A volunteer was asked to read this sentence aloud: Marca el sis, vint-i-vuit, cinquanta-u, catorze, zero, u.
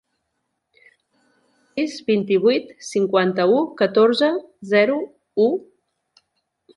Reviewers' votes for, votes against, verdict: 0, 2, rejected